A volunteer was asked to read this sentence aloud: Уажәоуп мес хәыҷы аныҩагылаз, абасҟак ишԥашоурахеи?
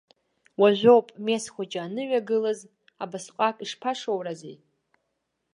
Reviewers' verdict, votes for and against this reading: rejected, 1, 2